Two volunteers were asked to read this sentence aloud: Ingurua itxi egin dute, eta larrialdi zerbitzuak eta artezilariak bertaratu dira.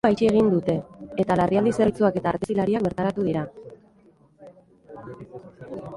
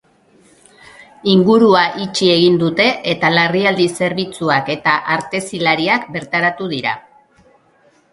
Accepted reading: second